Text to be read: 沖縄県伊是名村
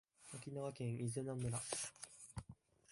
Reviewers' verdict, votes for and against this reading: rejected, 1, 2